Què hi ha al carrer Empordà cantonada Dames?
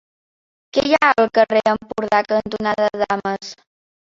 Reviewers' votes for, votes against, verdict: 0, 2, rejected